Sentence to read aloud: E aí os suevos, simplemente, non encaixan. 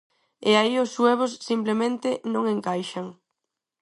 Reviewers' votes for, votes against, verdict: 4, 0, accepted